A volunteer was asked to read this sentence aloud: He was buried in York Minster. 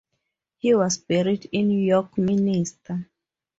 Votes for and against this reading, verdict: 2, 2, rejected